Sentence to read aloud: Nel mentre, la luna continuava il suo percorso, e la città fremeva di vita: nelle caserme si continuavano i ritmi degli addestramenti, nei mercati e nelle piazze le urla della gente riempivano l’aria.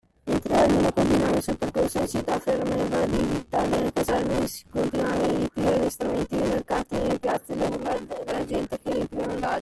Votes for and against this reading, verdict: 0, 2, rejected